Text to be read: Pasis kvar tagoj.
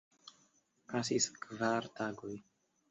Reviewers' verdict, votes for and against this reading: accepted, 2, 0